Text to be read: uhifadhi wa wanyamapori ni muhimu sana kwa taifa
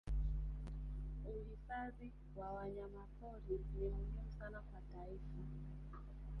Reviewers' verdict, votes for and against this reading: rejected, 0, 3